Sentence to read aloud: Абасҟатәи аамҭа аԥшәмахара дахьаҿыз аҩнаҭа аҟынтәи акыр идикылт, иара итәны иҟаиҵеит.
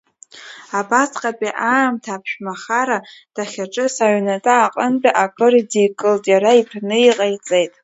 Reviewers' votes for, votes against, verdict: 2, 0, accepted